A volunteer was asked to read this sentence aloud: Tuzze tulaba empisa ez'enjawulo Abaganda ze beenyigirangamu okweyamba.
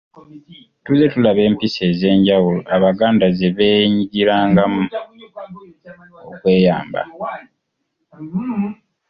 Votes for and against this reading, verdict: 2, 3, rejected